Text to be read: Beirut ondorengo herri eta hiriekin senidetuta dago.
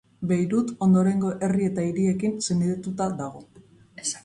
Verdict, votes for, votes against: accepted, 4, 1